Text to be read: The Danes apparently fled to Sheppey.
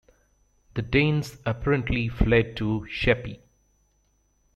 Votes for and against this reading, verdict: 2, 0, accepted